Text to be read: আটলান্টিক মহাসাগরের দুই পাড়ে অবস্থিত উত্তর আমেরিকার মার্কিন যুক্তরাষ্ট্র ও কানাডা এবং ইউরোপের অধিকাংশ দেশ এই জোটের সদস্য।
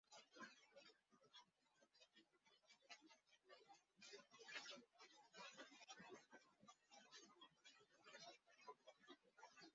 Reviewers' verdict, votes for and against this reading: rejected, 1, 9